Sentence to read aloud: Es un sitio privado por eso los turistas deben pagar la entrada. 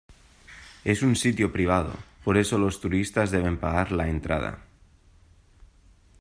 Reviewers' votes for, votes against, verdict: 2, 0, accepted